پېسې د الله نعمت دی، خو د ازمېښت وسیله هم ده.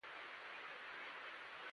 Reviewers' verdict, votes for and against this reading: rejected, 0, 2